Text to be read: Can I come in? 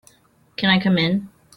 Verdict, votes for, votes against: accepted, 2, 0